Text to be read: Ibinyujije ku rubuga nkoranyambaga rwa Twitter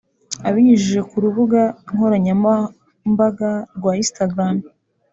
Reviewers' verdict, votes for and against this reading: rejected, 1, 2